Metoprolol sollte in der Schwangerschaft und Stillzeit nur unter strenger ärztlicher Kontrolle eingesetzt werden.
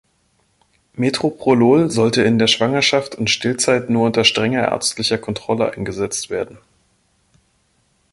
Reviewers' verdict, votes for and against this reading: rejected, 0, 2